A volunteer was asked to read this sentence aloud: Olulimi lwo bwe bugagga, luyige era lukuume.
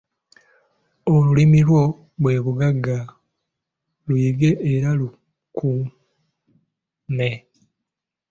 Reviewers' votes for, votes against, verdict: 3, 4, rejected